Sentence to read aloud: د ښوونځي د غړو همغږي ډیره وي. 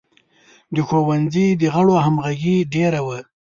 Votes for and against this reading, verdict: 1, 2, rejected